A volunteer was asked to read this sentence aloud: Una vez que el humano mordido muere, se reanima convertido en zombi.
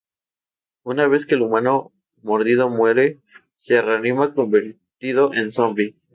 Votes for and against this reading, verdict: 8, 0, accepted